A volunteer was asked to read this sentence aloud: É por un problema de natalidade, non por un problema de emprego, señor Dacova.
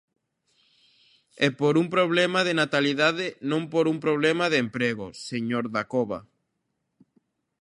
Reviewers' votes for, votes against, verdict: 2, 0, accepted